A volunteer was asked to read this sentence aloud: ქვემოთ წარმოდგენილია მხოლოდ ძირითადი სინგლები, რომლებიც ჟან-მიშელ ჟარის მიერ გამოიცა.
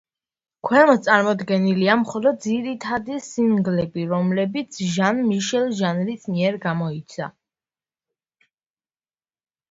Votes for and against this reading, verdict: 0, 2, rejected